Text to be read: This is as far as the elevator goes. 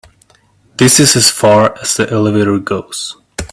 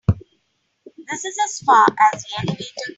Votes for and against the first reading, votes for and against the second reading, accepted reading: 2, 0, 0, 3, first